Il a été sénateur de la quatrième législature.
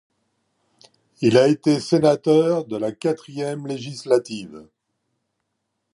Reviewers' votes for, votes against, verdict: 1, 2, rejected